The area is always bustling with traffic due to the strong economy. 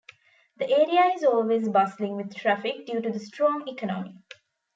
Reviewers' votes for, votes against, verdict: 2, 0, accepted